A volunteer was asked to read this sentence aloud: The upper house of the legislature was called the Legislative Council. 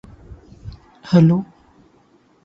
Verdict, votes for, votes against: rejected, 0, 2